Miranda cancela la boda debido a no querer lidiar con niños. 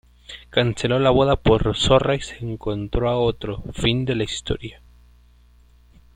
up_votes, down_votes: 0, 2